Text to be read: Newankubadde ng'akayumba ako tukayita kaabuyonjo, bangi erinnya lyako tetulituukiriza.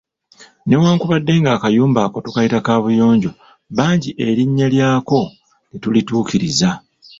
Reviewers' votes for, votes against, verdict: 2, 1, accepted